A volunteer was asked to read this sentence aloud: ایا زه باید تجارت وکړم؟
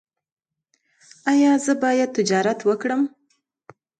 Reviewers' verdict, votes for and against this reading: accepted, 2, 0